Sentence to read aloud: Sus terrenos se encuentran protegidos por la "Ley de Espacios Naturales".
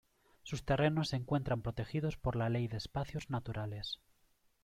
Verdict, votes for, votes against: accepted, 2, 0